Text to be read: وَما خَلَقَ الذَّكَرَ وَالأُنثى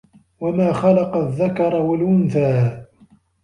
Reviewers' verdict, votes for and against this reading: accepted, 2, 0